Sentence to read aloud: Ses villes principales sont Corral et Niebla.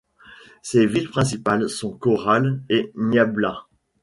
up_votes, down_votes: 1, 2